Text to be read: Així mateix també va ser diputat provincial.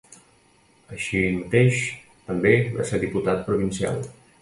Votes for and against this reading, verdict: 2, 0, accepted